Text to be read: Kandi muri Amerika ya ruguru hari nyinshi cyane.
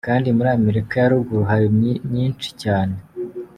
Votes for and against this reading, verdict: 1, 2, rejected